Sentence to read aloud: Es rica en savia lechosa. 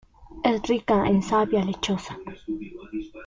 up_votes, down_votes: 0, 2